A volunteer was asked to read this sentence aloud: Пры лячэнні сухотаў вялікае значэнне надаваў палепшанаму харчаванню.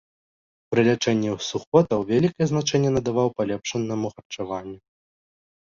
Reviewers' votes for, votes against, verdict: 0, 2, rejected